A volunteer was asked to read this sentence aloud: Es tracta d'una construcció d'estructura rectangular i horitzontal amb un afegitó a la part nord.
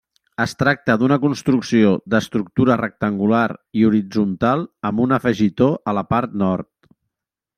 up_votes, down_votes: 3, 0